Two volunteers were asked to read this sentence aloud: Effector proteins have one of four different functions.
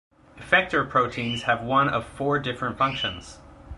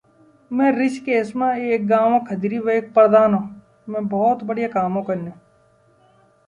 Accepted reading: first